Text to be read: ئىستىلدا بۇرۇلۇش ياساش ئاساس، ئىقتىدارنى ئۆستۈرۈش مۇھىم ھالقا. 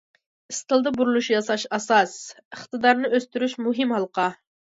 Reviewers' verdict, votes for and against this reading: accepted, 2, 0